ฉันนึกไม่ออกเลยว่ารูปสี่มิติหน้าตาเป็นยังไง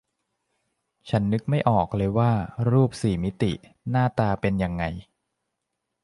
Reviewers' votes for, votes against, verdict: 3, 0, accepted